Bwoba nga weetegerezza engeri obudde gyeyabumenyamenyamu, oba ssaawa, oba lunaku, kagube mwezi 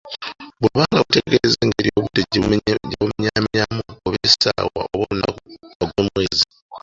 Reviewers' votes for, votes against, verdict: 0, 2, rejected